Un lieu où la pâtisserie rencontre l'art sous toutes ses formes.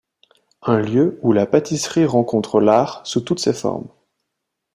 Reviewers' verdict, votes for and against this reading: accepted, 2, 0